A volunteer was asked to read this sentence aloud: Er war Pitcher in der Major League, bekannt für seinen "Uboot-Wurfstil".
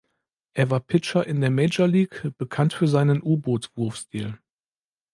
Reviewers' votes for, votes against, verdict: 2, 0, accepted